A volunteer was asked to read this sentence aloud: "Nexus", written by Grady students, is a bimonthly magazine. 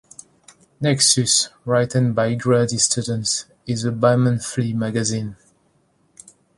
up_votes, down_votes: 0, 2